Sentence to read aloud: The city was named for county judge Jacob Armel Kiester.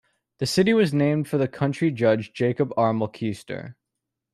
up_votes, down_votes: 0, 2